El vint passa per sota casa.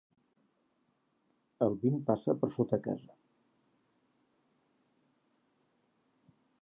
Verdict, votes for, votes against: accepted, 3, 0